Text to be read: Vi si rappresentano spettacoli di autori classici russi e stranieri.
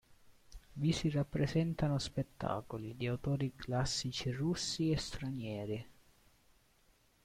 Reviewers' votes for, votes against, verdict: 2, 0, accepted